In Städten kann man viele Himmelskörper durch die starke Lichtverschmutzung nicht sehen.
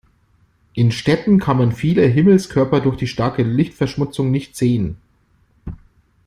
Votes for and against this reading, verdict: 2, 0, accepted